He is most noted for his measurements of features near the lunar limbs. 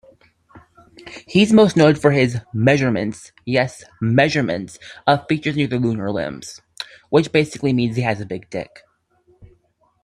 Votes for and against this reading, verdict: 0, 2, rejected